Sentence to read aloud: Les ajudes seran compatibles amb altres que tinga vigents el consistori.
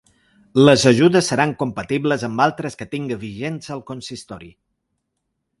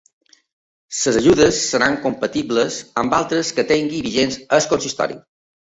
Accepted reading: first